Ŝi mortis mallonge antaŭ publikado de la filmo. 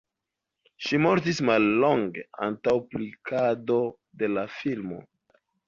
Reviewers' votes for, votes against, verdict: 2, 1, accepted